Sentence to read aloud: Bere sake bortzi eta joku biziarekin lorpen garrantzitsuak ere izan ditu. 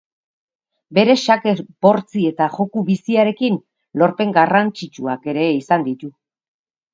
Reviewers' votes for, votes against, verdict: 0, 4, rejected